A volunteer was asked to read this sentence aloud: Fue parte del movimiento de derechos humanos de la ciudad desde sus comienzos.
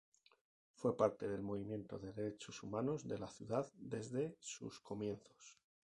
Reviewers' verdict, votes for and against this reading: rejected, 2, 2